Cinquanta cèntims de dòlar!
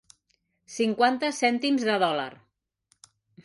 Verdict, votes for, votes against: rejected, 1, 2